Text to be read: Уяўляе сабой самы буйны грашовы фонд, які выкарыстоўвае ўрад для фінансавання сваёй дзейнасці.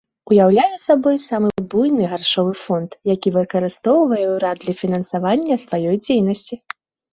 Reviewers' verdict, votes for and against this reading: rejected, 1, 2